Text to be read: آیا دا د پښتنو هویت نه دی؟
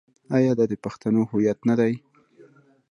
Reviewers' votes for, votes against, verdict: 1, 2, rejected